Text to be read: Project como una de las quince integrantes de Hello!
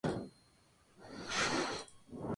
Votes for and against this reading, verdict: 0, 2, rejected